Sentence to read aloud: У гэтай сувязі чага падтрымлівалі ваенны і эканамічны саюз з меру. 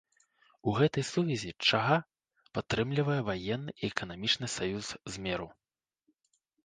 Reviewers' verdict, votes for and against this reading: accepted, 2, 0